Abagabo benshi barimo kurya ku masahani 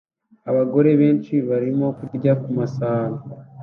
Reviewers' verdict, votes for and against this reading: rejected, 0, 2